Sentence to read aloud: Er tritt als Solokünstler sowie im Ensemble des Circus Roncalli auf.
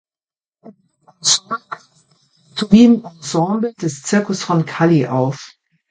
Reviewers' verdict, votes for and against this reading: rejected, 0, 2